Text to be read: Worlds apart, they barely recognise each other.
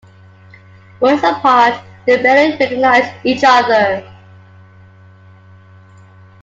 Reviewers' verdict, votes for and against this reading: accepted, 2, 1